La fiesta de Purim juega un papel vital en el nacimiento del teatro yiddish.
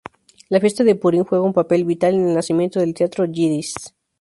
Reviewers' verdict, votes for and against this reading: accepted, 2, 0